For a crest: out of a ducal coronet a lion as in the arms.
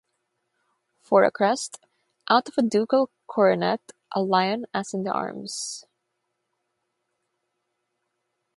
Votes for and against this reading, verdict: 6, 0, accepted